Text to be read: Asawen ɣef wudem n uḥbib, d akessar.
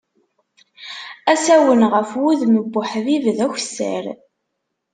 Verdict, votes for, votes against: rejected, 1, 2